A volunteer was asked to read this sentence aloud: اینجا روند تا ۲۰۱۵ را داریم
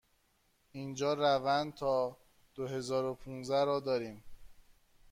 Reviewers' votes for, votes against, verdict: 0, 2, rejected